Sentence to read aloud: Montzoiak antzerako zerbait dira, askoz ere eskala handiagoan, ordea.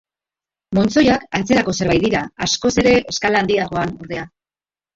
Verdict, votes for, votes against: accepted, 2, 1